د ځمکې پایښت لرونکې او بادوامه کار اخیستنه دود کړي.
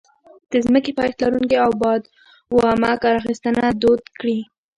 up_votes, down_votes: 1, 2